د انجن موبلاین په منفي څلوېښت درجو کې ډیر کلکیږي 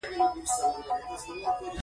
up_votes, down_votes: 1, 2